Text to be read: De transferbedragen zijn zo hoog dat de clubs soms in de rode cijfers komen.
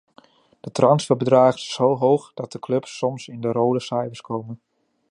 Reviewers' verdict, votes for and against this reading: rejected, 0, 2